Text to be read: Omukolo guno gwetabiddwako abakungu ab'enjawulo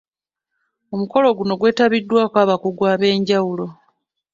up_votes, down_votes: 1, 2